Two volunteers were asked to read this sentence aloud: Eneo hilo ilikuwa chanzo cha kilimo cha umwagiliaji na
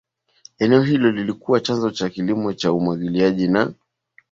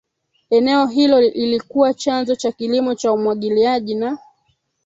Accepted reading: first